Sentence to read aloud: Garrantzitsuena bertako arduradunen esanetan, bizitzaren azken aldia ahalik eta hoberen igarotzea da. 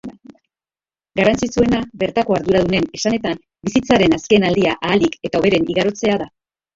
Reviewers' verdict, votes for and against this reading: rejected, 0, 2